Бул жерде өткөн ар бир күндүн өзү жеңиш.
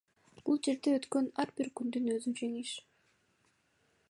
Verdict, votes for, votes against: accepted, 2, 0